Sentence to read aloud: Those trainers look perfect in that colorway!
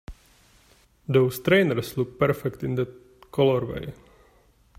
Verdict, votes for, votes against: rejected, 0, 2